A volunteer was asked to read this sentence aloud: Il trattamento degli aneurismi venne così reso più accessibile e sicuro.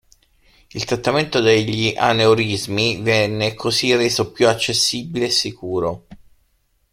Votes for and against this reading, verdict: 3, 0, accepted